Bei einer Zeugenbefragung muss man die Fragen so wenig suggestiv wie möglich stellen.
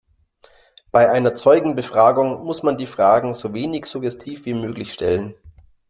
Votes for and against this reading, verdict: 2, 0, accepted